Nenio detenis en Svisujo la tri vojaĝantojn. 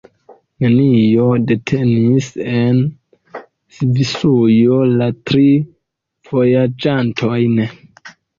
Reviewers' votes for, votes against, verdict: 2, 0, accepted